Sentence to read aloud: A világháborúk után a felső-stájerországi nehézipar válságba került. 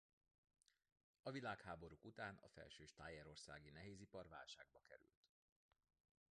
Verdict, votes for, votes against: rejected, 0, 2